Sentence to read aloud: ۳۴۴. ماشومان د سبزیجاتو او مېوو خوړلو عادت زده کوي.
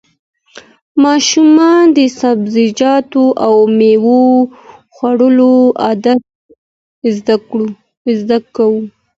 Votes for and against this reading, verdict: 0, 2, rejected